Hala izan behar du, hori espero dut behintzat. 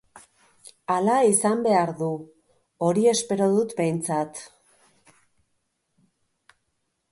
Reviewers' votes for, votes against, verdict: 3, 0, accepted